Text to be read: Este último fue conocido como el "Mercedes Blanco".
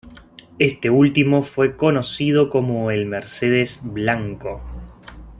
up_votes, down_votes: 2, 0